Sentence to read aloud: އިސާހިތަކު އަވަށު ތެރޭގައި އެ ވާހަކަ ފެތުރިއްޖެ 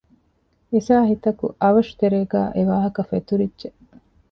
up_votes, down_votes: 2, 1